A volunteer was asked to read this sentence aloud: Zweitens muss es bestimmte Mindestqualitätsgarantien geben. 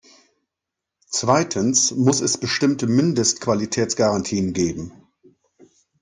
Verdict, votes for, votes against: accepted, 2, 0